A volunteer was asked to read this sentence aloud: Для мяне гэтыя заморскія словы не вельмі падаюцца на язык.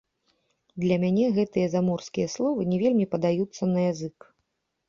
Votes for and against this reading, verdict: 2, 0, accepted